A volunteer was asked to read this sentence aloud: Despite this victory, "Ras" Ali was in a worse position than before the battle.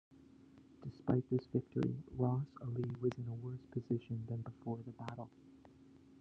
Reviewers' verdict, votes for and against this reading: accepted, 2, 0